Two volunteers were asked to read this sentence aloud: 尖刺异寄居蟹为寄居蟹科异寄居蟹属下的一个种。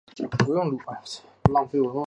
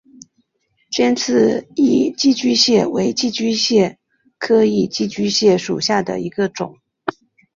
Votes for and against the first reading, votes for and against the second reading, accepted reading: 0, 2, 7, 0, second